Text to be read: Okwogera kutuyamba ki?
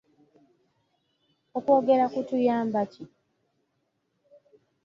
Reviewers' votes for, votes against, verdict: 3, 0, accepted